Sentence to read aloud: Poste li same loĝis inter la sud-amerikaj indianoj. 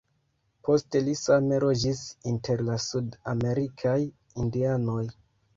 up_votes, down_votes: 1, 2